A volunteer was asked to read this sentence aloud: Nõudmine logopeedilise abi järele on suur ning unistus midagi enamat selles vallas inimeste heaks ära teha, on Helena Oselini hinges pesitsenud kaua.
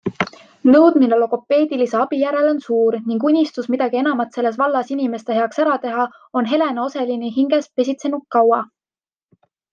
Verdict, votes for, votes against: accepted, 2, 0